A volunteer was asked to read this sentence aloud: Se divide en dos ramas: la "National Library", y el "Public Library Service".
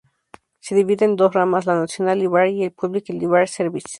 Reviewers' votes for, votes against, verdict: 2, 0, accepted